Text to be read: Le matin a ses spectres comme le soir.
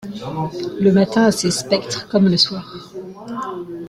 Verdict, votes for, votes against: rejected, 1, 2